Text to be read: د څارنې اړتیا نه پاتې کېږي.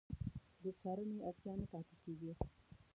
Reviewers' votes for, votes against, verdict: 0, 2, rejected